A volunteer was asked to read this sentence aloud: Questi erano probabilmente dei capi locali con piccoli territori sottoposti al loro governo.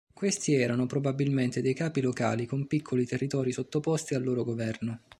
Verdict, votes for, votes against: accepted, 2, 0